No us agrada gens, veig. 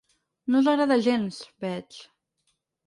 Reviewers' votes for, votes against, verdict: 4, 0, accepted